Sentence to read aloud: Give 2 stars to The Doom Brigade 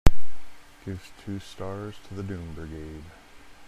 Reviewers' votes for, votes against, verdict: 0, 2, rejected